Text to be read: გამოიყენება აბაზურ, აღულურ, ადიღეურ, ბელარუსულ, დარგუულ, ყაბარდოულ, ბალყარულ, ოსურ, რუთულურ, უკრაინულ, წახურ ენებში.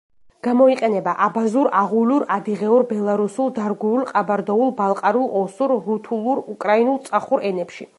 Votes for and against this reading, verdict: 2, 0, accepted